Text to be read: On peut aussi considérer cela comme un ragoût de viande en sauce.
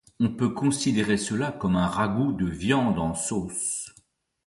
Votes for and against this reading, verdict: 0, 2, rejected